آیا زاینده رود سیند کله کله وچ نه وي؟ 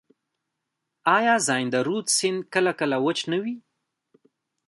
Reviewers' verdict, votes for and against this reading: rejected, 1, 2